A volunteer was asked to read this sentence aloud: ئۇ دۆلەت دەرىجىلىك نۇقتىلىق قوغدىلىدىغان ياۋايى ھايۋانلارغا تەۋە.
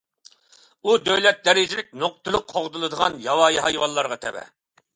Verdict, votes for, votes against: accepted, 2, 0